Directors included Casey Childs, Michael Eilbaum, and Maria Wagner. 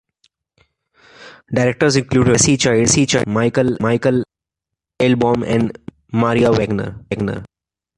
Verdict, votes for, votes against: rejected, 0, 2